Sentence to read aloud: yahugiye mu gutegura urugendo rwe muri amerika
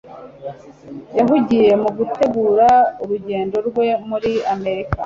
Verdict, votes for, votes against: accepted, 2, 0